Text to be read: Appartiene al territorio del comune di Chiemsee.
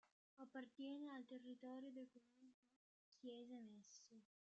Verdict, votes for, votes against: rejected, 0, 2